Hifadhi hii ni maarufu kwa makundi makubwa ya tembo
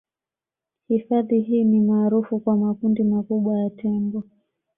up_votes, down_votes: 1, 2